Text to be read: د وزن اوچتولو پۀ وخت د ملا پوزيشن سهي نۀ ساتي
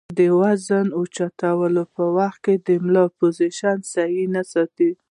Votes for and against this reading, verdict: 2, 1, accepted